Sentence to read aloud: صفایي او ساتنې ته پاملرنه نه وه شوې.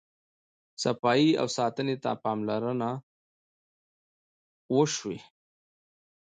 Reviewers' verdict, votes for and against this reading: rejected, 0, 2